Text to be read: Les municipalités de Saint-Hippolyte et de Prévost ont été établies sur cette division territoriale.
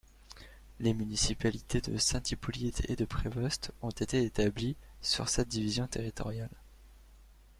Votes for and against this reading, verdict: 1, 3, rejected